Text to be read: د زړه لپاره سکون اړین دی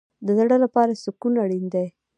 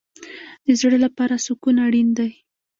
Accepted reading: second